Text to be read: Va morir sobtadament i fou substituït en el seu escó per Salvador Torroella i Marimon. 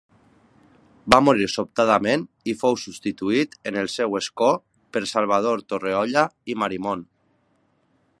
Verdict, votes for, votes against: rejected, 0, 2